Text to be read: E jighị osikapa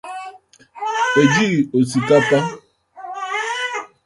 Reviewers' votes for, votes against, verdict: 0, 2, rejected